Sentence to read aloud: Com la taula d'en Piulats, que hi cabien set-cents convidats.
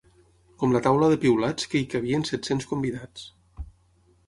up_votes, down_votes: 3, 6